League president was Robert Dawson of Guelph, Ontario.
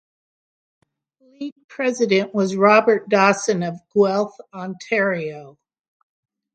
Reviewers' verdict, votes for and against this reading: accepted, 3, 0